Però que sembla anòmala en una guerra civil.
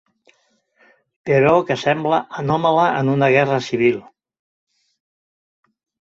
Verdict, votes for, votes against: accepted, 3, 0